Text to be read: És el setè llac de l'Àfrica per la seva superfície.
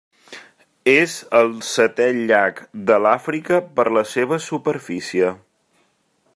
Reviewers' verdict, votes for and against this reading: accepted, 3, 0